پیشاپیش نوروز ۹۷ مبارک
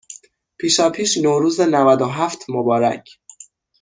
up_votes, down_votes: 0, 2